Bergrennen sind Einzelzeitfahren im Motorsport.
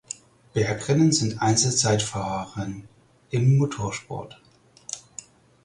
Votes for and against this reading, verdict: 2, 4, rejected